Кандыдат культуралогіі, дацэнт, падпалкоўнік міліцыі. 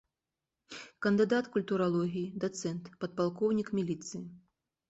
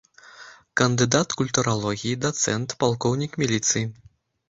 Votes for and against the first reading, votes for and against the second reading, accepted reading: 2, 0, 0, 2, first